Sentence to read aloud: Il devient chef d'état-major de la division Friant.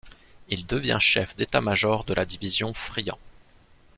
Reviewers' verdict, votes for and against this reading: accepted, 2, 1